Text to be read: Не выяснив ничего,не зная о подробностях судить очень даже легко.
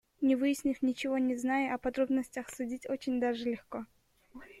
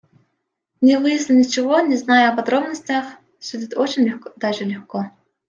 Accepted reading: first